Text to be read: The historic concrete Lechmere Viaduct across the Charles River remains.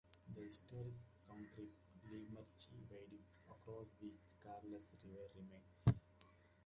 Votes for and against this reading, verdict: 1, 2, rejected